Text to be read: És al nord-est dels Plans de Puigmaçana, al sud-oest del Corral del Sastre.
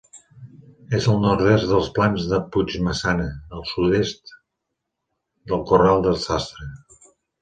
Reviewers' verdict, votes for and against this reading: rejected, 0, 2